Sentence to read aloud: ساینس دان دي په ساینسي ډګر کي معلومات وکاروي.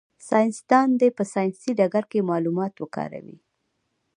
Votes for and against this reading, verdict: 1, 2, rejected